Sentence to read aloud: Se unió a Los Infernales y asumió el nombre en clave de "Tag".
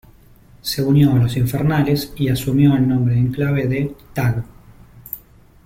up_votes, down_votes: 2, 0